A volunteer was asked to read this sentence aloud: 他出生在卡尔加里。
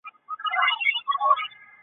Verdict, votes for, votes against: rejected, 2, 3